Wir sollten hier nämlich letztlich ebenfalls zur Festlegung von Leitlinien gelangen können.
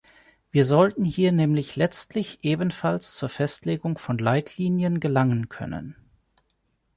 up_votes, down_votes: 2, 0